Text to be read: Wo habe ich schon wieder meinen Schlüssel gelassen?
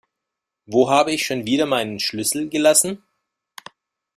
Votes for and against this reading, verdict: 0, 2, rejected